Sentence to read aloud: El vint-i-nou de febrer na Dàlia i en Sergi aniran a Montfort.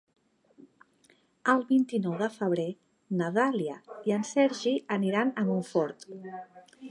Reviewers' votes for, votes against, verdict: 3, 0, accepted